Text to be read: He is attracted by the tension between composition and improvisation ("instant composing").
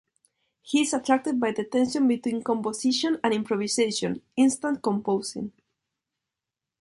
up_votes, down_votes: 2, 0